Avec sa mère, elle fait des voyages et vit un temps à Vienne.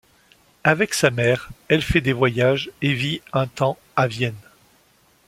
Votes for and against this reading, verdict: 2, 0, accepted